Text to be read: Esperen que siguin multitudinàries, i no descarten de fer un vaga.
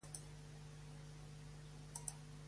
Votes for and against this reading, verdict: 0, 2, rejected